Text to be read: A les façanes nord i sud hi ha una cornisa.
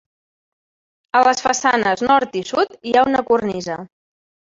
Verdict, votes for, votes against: accepted, 3, 0